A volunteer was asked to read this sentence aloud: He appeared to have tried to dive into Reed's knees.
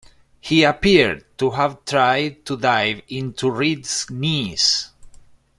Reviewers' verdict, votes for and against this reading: accepted, 2, 0